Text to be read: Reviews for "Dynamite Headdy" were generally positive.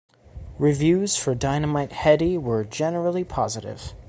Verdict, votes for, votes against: accepted, 2, 0